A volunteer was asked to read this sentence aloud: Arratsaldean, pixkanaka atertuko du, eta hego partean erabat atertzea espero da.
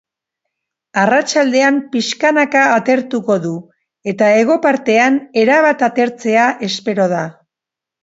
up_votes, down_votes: 2, 0